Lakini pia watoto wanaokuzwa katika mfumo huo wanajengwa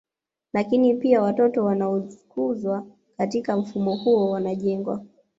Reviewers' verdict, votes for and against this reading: accepted, 2, 0